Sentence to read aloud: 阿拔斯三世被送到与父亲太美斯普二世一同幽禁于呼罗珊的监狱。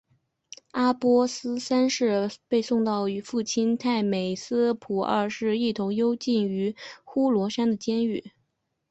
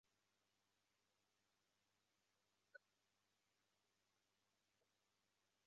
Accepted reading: first